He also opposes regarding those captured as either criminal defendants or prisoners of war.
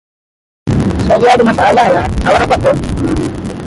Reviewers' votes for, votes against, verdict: 0, 2, rejected